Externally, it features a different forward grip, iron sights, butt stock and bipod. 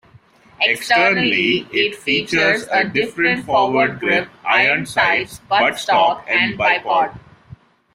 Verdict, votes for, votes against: rejected, 0, 2